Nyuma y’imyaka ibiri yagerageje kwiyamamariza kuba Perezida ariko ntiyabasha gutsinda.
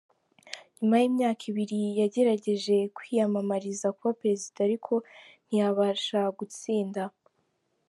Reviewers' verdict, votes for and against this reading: accepted, 2, 0